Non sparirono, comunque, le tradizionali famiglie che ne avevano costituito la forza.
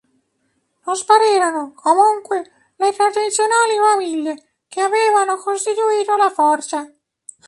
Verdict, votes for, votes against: rejected, 1, 2